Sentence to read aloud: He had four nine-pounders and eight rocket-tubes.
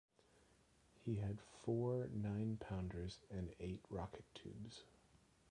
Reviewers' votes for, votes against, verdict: 0, 2, rejected